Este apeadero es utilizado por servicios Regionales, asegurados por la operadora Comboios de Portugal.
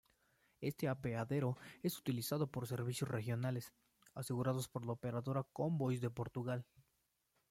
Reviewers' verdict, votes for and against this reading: accepted, 2, 0